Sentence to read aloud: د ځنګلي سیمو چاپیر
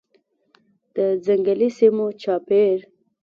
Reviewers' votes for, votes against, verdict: 2, 0, accepted